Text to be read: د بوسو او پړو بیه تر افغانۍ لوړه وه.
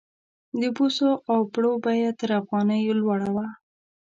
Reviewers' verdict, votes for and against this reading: accepted, 2, 0